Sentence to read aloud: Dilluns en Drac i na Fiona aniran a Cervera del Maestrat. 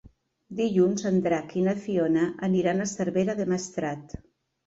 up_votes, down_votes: 1, 2